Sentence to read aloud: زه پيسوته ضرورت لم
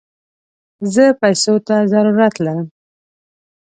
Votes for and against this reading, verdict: 2, 0, accepted